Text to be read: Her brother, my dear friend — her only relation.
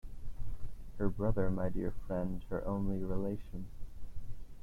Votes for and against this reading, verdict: 2, 0, accepted